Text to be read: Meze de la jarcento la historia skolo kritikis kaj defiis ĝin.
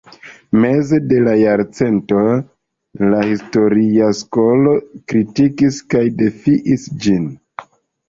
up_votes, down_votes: 2, 1